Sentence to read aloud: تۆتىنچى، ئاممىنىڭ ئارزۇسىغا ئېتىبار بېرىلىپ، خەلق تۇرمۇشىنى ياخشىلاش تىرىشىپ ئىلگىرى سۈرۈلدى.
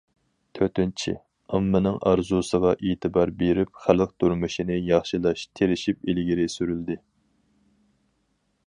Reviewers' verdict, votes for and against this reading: rejected, 2, 2